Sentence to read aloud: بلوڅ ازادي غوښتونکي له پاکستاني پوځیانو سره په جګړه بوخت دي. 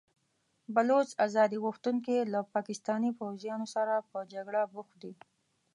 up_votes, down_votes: 2, 0